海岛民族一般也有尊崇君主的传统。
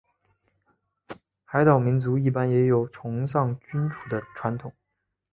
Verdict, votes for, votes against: rejected, 1, 2